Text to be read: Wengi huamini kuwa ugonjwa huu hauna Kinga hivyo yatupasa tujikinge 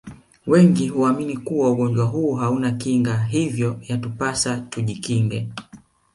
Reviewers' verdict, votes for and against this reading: accepted, 5, 0